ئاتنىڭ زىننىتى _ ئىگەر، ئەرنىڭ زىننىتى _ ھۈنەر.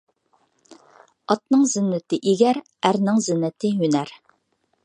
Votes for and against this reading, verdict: 2, 0, accepted